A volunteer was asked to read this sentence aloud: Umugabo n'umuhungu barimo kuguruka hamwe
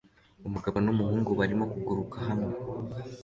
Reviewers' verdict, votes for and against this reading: accepted, 2, 0